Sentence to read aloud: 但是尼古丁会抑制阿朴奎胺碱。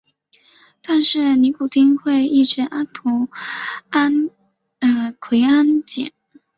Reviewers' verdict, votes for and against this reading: rejected, 0, 2